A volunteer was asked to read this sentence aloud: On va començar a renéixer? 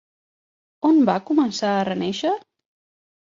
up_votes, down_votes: 4, 0